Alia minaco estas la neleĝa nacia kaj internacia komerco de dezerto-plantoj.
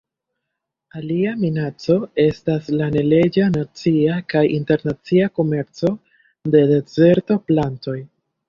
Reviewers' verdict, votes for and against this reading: rejected, 0, 2